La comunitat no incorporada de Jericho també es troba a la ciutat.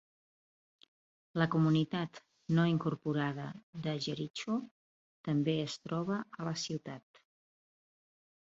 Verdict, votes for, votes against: rejected, 1, 2